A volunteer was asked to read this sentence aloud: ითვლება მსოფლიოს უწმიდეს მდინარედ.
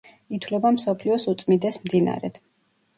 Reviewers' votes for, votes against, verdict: 2, 0, accepted